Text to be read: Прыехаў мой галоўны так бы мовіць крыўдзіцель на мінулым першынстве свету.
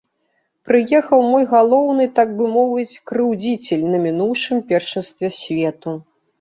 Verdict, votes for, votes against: rejected, 1, 2